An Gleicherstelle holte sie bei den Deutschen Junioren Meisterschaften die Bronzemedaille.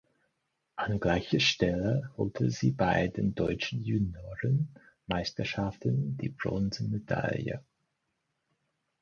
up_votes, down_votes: 4, 2